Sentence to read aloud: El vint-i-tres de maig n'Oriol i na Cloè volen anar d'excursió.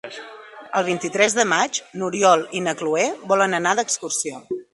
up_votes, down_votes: 1, 2